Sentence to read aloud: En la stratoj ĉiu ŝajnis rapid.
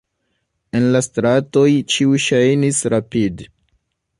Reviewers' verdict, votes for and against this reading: rejected, 1, 2